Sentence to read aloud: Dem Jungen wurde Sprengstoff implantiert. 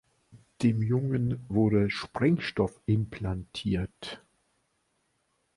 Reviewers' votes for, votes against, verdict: 2, 0, accepted